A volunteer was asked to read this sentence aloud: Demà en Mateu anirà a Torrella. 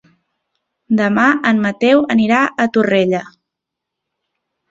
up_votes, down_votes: 4, 0